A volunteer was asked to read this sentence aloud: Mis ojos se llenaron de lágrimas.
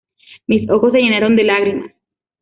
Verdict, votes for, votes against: accepted, 2, 0